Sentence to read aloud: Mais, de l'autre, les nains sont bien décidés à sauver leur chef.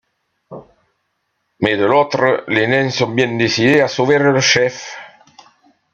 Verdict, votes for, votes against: rejected, 0, 2